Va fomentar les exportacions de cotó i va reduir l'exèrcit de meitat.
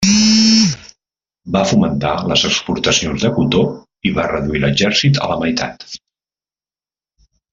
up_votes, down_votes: 0, 2